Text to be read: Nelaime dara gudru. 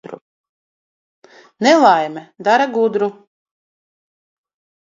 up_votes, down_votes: 2, 0